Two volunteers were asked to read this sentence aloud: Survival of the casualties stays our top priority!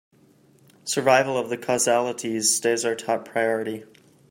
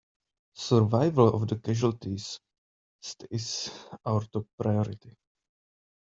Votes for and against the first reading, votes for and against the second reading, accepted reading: 0, 2, 3, 1, second